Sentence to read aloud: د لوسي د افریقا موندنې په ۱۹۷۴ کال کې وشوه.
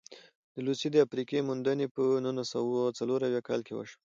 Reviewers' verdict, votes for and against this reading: rejected, 0, 2